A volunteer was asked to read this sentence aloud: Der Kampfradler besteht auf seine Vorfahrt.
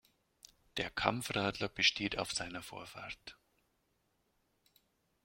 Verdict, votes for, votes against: accepted, 2, 0